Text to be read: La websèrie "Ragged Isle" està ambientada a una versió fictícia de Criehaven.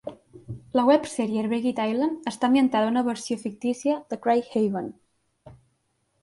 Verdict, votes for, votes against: rejected, 0, 2